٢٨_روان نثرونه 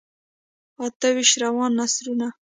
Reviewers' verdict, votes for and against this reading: rejected, 0, 2